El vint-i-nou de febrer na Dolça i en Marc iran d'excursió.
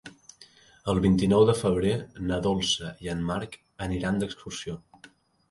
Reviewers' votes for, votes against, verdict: 1, 3, rejected